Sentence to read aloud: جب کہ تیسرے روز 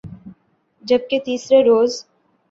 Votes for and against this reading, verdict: 7, 0, accepted